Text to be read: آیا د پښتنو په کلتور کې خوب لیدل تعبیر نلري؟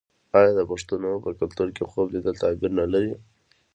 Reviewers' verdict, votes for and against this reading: rejected, 1, 2